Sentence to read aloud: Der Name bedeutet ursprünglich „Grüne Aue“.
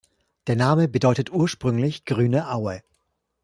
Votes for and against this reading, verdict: 1, 2, rejected